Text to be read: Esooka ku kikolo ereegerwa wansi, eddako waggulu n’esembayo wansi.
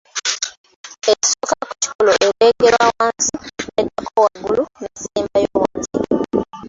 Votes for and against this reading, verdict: 0, 2, rejected